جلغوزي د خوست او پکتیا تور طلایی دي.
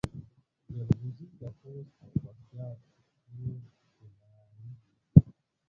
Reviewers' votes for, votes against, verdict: 1, 2, rejected